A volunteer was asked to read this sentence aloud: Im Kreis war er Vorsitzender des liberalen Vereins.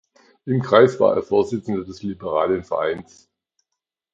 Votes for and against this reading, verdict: 2, 0, accepted